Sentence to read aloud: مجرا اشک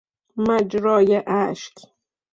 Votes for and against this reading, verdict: 0, 2, rejected